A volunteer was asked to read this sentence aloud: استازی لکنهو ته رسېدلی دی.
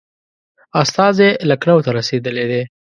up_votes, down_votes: 2, 1